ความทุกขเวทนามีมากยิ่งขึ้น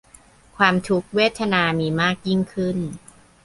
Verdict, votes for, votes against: rejected, 0, 2